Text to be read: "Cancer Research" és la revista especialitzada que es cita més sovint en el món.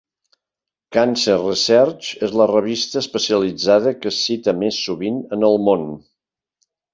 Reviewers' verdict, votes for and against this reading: accepted, 3, 0